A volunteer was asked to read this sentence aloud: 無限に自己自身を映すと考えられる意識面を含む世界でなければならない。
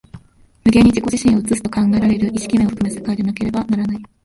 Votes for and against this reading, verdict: 0, 2, rejected